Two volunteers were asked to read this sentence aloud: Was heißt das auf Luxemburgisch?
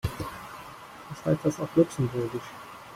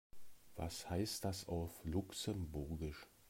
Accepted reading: second